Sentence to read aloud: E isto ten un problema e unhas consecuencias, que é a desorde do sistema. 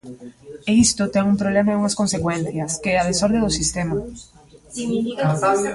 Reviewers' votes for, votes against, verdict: 1, 2, rejected